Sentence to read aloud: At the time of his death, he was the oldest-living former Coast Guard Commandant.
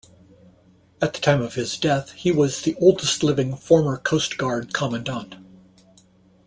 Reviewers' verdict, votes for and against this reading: accepted, 2, 0